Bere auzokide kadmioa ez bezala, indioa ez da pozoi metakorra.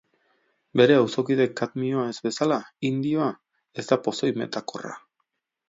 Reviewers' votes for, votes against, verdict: 2, 0, accepted